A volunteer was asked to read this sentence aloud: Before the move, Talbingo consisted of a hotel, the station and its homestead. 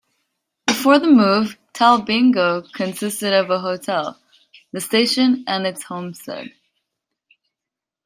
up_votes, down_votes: 2, 0